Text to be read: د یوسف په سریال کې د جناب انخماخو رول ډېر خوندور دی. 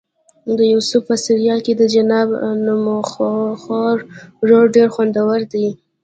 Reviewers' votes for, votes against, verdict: 1, 2, rejected